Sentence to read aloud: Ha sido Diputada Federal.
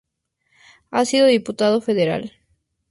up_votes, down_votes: 2, 0